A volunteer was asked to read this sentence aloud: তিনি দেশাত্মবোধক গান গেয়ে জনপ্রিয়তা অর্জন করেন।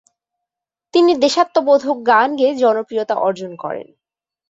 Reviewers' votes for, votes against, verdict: 2, 0, accepted